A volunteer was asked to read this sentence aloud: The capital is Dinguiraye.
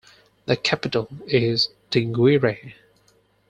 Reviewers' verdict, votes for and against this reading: accepted, 4, 0